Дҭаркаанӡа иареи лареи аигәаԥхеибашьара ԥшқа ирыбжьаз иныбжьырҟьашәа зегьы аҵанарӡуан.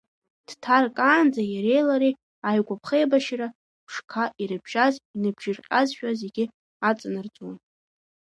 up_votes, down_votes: 1, 2